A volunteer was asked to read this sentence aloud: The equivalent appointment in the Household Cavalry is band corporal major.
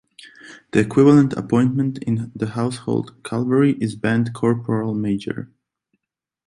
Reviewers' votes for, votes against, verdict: 2, 0, accepted